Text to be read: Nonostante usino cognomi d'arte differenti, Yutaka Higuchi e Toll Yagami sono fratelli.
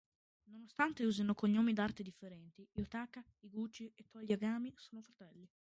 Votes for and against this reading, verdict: 0, 2, rejected